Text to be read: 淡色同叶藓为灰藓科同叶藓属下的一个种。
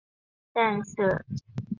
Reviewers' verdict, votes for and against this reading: rejected, 3, 4